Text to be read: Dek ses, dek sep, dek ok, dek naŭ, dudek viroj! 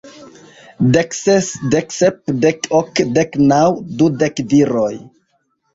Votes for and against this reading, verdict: 2, 1, accepted